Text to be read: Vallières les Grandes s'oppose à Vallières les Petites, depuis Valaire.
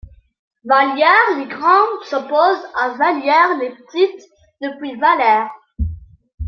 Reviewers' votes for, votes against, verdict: 2, 0, accepted